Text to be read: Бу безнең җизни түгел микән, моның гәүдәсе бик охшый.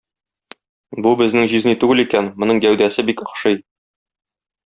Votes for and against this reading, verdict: 0, 2, rejected